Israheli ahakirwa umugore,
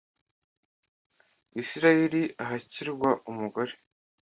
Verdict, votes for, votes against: accepted, 2, 1